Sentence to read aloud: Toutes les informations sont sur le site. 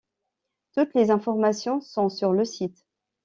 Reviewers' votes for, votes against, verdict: 2, 0, accepted